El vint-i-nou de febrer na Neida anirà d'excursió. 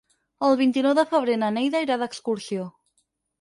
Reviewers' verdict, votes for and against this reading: rejected, 2, 4